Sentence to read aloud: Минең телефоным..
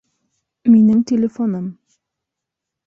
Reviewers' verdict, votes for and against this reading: accepted, 2, 0